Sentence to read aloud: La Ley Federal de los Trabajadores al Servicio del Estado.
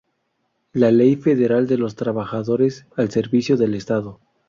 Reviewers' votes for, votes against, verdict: 0, 2, rejected